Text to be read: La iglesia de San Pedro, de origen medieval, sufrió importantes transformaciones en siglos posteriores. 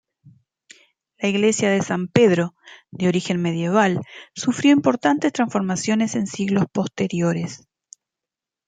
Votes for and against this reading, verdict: 2, 1, accepted